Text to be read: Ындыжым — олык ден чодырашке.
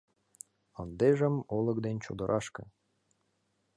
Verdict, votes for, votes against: accepted, 2, 0